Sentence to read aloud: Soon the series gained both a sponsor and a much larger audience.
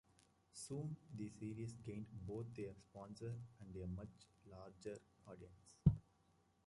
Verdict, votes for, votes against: rejected, 0, 2